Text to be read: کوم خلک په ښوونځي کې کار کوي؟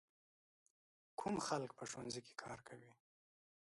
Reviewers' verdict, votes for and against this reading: rejected, 1, 2